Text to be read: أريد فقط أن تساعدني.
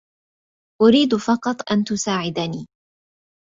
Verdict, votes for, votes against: accepted, 2, 0